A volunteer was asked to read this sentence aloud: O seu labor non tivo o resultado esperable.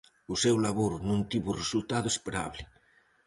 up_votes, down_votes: 4, 0